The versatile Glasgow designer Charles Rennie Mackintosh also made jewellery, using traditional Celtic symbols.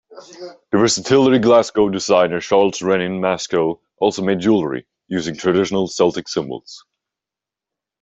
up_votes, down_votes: 0, 2